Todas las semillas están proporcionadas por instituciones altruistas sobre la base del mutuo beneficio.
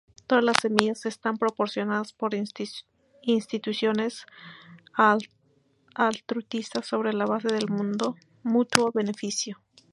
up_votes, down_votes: 0, 2